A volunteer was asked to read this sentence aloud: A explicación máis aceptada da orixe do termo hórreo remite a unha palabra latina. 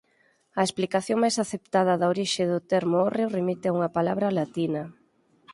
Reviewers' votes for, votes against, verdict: 6, 0, accepted